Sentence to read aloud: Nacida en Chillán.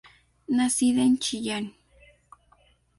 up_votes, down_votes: 2, 0